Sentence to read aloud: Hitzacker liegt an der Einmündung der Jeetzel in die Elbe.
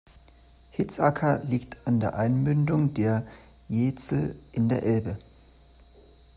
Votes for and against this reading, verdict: 0, 2, rejected